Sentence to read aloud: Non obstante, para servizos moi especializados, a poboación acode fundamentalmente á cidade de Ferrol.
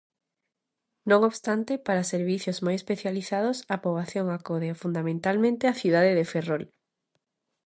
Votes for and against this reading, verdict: 2, 0, accepted